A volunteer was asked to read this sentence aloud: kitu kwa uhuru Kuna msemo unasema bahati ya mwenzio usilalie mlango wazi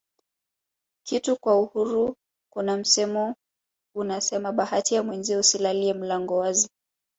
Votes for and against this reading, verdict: 4, 1, accepted